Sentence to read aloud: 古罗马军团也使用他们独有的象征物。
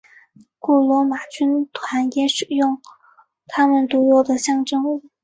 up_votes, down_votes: 1, 2